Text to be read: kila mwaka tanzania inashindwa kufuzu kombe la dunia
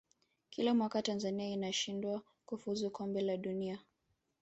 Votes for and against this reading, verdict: 2, 3, rejected